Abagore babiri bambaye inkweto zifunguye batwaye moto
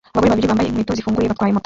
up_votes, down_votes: 0, 2